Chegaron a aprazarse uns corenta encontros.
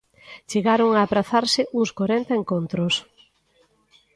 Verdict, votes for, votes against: accepted, 2, 0